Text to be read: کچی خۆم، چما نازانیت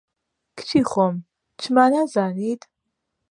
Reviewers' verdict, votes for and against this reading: accepted, 2, 0